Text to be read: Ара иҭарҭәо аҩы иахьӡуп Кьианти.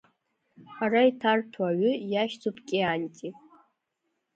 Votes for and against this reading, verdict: 0, 2, rejected